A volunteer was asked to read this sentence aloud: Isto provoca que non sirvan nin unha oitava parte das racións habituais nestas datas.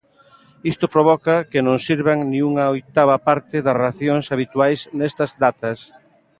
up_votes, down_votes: 3, 0